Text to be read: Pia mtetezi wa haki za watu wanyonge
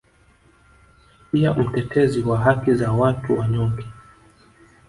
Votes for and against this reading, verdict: 2, 0, accepted